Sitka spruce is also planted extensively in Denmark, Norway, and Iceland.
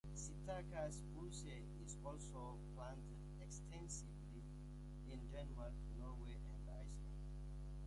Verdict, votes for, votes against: rejected, 1, 2